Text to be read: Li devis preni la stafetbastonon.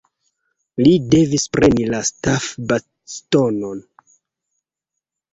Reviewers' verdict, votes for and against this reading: rejected, 0, 2